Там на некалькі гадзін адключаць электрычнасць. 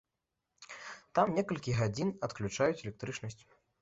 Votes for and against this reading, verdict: 0, 2, rejected